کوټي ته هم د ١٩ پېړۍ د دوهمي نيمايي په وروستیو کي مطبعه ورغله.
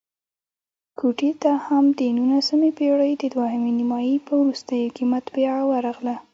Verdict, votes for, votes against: rejected, 0, 2